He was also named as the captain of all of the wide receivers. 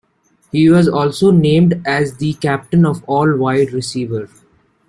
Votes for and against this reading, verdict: 1, 2, rejected